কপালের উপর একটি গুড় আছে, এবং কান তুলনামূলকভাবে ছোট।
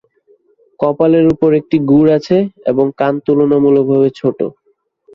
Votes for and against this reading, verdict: 2, 0, accepted